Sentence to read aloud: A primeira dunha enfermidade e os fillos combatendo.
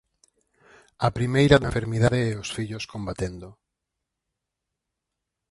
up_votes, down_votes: 0, 4